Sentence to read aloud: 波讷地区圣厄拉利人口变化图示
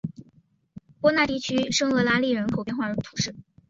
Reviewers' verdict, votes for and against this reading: accepted, 7, 0